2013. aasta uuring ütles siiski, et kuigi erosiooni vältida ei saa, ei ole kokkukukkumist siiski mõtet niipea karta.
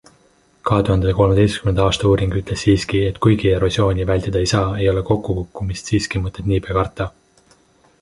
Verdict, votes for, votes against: rejected, 0, 2